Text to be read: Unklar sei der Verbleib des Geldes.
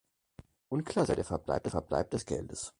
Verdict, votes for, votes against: rejected, 2, 4